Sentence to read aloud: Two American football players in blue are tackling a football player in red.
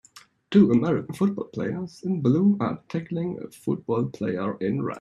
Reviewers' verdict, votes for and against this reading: accepted, 2, 0